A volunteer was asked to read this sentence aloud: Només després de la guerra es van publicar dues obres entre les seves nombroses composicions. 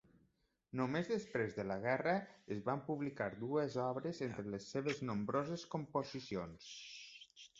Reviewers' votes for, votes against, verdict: 3, 0, accepted